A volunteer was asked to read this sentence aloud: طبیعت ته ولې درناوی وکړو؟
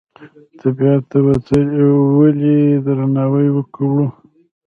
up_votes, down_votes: 2, 0